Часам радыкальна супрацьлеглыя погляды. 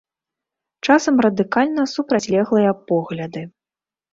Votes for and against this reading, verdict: 2, 0, accepted